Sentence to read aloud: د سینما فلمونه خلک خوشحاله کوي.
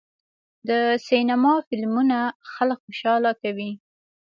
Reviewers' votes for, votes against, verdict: 2, 0, accepted